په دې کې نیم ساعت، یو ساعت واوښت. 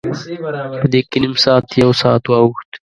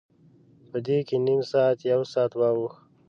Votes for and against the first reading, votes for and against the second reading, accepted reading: 0, 2, 2, 0, second